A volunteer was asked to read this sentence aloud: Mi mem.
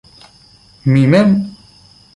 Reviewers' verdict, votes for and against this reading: rejected, 1, 2